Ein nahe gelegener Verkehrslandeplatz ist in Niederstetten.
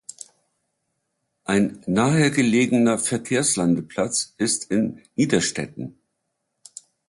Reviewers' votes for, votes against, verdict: 2, 0, accepted